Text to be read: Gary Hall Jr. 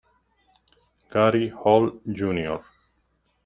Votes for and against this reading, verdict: 1, 2, rejected